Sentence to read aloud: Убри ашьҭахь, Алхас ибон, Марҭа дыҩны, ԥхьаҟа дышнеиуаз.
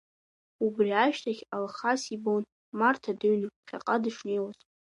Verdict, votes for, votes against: accepted, 2, 0